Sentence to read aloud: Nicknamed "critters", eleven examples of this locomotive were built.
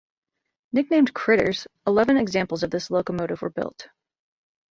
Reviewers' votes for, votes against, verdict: 2, 0, accepted